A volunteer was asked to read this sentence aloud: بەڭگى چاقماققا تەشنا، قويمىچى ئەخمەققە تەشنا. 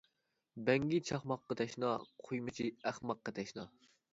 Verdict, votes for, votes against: rejected, 0, 2